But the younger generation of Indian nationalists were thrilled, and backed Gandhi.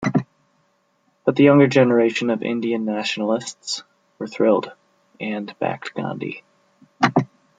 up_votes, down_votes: 2, 0